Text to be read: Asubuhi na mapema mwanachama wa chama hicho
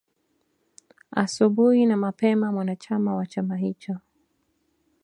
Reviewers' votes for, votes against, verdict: 3, 0, accepted